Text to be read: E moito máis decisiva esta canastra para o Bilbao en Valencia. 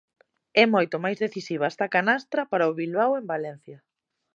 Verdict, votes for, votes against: accepted, 2, 0